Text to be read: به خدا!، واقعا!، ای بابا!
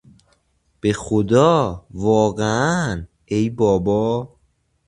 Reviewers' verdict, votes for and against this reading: accepted, 2, 0